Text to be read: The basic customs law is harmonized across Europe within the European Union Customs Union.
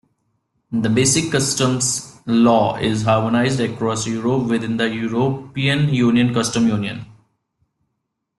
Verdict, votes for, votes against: rejected, 0, 2